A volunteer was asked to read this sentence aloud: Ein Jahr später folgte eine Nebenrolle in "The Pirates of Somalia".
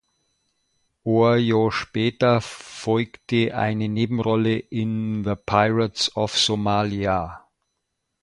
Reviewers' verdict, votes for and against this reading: rejected, 0, 2